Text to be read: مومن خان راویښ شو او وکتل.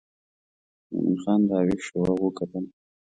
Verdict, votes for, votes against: rejected, 0, 2